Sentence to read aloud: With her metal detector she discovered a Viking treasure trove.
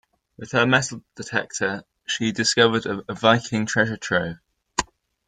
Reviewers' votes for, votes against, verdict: 0, 2, rejected